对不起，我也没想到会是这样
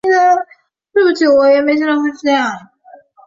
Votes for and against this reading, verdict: 1, 4, rejected